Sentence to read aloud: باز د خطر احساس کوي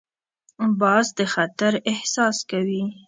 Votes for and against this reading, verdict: 3, 0, accepted